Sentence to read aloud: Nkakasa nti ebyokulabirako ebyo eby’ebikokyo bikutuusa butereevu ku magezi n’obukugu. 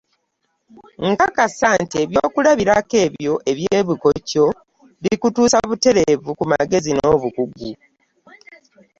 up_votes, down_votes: 2, 0